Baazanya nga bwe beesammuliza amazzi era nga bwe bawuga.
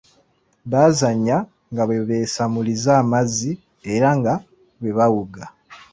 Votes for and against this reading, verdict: 2, 1, accepted